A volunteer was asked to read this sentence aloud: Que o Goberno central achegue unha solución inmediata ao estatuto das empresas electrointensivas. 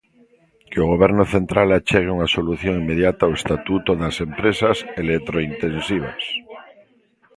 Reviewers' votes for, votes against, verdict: 0, 2, rejected